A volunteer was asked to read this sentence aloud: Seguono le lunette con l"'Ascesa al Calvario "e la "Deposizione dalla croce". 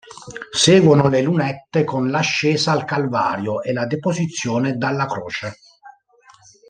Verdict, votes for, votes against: rejected, 1, 2